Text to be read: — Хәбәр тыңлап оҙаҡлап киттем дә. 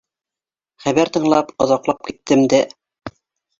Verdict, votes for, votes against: rejected, 0, 2